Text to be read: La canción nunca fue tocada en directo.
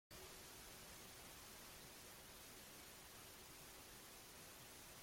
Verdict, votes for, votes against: rejected, 0, 2